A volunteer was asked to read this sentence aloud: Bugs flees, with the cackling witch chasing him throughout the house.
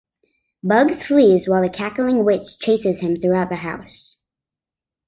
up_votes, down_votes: 1, 2